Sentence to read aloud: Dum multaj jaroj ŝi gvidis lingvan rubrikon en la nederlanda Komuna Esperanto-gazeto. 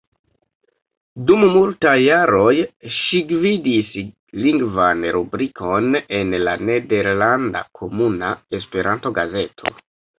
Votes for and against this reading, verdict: 2, 1, accepted